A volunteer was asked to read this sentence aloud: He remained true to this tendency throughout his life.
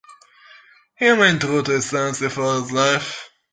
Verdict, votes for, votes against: rejected, 0, 2